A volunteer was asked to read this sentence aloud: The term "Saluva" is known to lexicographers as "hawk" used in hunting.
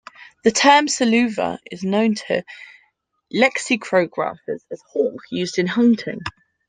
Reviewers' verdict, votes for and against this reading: rejected, 0, 2